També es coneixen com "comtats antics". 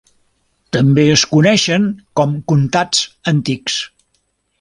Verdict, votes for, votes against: accepted, 2, 0